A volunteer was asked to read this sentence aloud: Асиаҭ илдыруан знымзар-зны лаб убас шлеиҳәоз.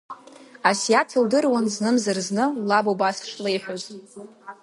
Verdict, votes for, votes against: accepted, 2, 0